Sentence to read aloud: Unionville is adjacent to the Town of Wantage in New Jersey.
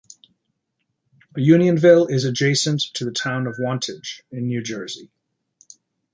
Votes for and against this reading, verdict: 2, 0, accepted